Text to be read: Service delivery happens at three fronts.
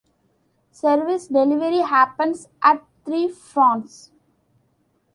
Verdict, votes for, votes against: accepted, 3, 0